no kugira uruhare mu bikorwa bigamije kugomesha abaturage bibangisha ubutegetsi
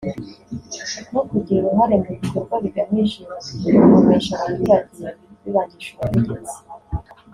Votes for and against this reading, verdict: 0, 2, rejected